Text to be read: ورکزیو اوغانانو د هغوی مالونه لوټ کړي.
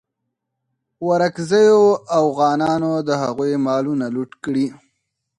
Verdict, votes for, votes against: accepted, 4, 2